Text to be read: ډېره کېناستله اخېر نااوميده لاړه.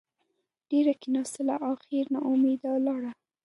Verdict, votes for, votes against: accepted, 2, 0